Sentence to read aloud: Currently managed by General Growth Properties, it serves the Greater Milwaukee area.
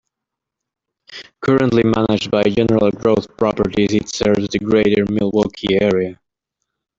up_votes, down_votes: 2, 0